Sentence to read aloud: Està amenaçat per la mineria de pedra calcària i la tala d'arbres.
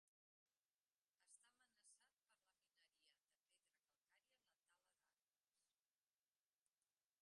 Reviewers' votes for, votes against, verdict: 0, 2, rejected